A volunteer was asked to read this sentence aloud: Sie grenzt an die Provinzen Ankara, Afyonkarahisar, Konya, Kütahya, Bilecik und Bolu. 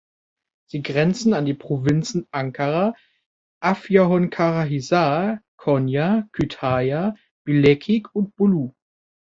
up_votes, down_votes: 0, 2